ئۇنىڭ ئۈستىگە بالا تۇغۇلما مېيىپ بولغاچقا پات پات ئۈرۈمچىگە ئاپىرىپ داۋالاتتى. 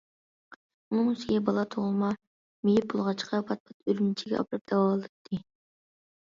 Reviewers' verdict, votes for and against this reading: rejected, 0, 2